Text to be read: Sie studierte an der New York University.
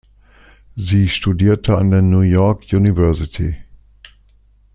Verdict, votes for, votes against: accepted, 2, 0